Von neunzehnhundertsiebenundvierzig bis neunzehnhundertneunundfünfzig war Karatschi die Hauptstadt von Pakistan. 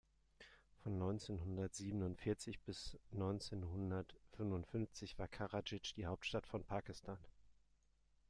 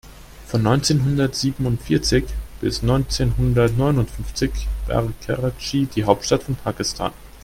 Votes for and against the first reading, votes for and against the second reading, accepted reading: 0, 2, 2, 1, second